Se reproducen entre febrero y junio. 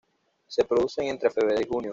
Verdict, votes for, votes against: rejected, 1, 2